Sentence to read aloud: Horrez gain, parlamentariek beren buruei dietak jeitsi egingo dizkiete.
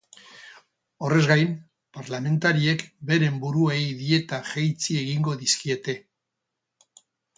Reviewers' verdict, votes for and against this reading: accepted, 4, 0